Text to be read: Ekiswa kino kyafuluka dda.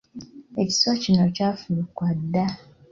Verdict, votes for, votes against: accepted, 2, 1